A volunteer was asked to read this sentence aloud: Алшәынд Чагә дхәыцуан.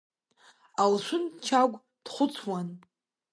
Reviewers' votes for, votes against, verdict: 2, 1, accepted